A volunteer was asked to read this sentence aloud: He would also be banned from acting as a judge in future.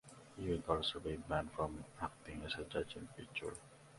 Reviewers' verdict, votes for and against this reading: rejected, 0, 2